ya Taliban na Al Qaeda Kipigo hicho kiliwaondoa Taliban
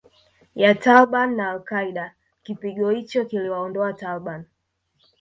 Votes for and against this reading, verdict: 2, 0, accepted